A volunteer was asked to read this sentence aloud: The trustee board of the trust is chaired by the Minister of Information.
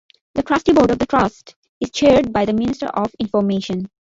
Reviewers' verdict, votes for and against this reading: rejected, 1, 2